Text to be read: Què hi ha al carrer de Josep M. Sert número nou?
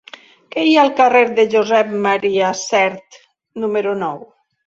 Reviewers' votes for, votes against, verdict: 3, 0, accepted